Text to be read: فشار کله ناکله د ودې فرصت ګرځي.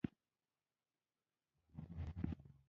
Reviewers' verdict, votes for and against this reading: rejected, 1, 2